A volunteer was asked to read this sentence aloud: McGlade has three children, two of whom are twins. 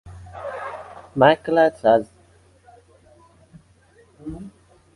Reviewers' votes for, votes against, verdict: 0, 2, rejected